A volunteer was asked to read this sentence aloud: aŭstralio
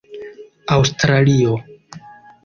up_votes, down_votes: 2, 0